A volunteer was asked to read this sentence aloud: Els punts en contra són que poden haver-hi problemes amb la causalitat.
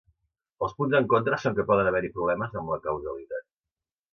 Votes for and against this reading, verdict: 2, 0, accepted